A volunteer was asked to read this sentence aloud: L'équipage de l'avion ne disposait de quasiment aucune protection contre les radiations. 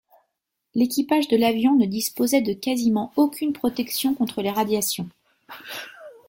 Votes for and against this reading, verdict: 2, 0, accepted